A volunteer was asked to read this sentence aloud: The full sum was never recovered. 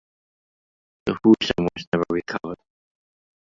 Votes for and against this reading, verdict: 0, 2, rejected